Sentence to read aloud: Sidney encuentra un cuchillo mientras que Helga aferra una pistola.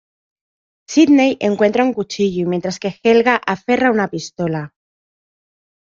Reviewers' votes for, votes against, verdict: 2, 0, accepted